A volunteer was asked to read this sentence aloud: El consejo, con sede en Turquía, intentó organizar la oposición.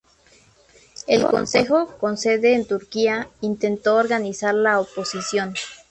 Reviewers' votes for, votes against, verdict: 2, 0, accepted